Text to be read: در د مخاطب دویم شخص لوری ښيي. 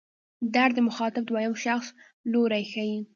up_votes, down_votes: 2, 1